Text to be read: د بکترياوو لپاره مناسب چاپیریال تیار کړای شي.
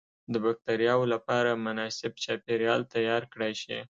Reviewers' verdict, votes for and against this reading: accepted, 2, 0